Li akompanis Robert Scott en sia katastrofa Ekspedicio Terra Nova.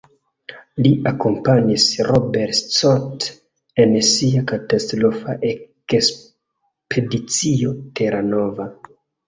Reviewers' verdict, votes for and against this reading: rejected, 0, 2